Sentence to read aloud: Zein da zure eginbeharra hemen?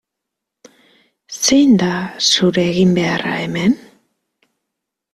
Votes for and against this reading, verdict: 2, 0, accepted